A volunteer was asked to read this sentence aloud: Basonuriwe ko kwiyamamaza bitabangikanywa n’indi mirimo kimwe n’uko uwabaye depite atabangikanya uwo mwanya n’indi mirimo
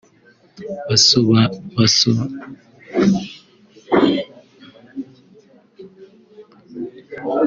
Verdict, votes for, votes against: rejected, 0, 2